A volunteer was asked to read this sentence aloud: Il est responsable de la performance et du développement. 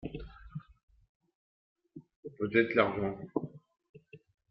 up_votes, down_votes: 0, 2